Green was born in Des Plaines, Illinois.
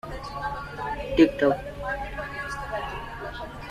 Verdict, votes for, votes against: rejected, 0, 2